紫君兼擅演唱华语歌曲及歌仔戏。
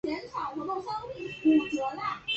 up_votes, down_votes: 0, 2